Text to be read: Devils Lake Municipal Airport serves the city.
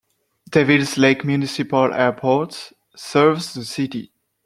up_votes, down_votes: 2, 0